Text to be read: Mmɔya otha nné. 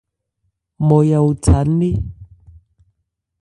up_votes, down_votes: 2, 0